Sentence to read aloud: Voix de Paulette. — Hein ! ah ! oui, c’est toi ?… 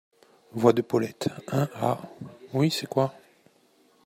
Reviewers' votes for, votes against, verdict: 0, 2, rejected